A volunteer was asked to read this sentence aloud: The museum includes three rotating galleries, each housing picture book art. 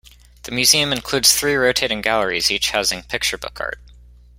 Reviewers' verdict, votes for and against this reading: accepted, 2, 0